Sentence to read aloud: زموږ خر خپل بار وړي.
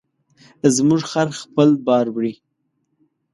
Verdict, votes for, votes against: accepted, 2, 0